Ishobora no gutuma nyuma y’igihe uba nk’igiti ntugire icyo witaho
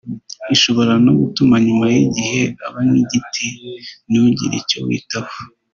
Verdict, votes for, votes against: accepted, 2, 1